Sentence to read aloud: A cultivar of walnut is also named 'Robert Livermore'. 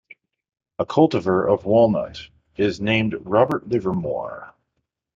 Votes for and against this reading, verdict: 0, 2, rejected